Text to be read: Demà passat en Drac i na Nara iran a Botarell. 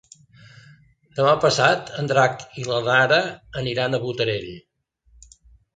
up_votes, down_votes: 0, 2